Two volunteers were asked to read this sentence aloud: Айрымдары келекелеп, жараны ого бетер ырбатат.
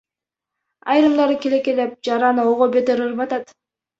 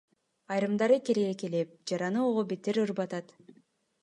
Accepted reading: second